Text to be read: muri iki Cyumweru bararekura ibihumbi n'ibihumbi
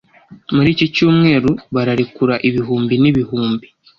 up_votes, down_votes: 2, 0